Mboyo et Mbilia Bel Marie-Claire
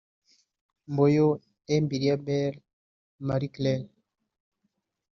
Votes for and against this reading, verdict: 3, 0, accepted